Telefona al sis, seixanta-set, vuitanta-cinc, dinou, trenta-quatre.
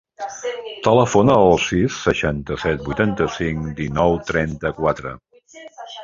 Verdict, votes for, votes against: rejected, 1, 2